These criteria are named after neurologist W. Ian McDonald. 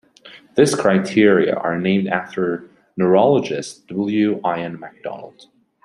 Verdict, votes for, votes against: rejected, 0, 2